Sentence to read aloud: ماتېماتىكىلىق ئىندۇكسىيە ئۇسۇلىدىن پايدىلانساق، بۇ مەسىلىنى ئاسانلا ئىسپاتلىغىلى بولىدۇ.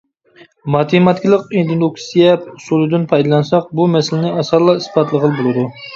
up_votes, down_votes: 0, 2